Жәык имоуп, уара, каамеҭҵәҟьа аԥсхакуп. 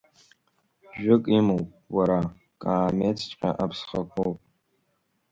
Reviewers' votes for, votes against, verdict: 1, 2, rejected